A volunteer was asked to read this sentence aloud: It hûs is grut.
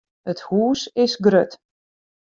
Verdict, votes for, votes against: accepted, 2, 0